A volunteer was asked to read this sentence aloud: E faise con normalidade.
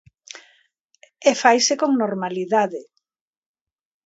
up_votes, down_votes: 2, 0